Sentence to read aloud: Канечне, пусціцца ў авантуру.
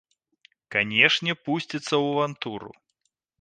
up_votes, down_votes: 1, 2